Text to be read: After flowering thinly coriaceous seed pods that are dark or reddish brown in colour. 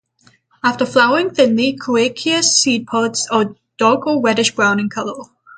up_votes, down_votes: 3, 3